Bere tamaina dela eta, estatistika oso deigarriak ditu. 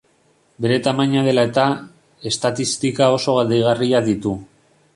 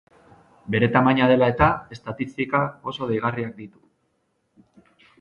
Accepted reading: second